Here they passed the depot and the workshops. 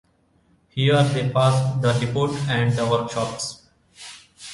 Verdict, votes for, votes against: rejected, 1, 2